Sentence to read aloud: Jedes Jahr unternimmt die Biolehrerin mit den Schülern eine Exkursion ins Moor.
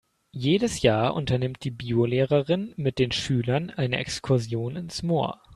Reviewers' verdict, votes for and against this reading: accepted, 2, 0